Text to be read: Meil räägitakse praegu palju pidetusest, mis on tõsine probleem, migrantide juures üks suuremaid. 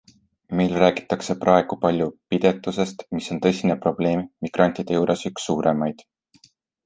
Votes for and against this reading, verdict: 2, 0, accepted